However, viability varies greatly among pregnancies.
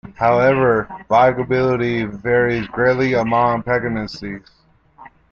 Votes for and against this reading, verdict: 1, 2, rejected